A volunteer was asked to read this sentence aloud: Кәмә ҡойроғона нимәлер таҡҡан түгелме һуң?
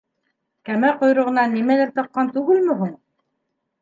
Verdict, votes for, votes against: accepted, 2, 0